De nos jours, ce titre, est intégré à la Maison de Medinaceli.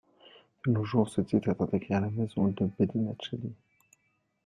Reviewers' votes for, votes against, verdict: 0, 2, rejected